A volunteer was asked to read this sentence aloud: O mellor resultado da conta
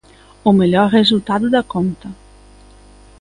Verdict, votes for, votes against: accepted, 2, 1